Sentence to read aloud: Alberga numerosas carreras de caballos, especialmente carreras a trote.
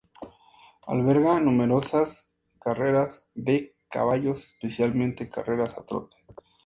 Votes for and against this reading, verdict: 4, 0, accepted